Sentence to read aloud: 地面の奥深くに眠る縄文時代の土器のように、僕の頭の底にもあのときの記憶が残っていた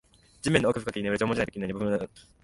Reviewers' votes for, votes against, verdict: 0, 2, rejected